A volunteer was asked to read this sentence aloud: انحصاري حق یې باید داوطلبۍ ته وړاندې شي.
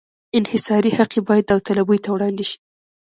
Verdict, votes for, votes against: accepted, 2, 1